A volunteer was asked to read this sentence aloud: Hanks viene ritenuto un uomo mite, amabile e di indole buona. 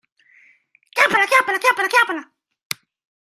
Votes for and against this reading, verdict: 0, 2, rejected